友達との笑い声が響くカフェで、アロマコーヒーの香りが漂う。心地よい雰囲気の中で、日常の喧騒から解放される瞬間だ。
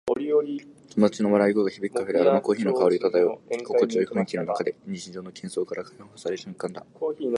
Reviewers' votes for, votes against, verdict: 2, 2, rejected